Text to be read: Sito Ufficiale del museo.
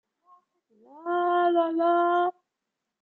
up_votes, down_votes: 0, 2